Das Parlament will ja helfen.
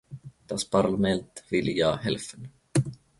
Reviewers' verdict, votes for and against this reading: accepted, 2, 0